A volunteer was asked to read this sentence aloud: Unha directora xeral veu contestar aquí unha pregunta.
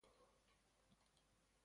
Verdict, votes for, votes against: rejected, 0, 2